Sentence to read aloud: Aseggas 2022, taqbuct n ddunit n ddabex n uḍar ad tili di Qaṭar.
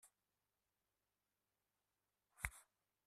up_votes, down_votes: 0, 2